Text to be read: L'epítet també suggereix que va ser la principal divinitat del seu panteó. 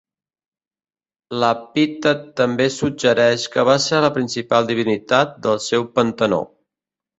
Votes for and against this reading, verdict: 0, 2, rejected